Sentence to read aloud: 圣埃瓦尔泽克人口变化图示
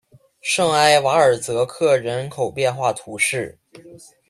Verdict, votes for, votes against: accepted, 2, 0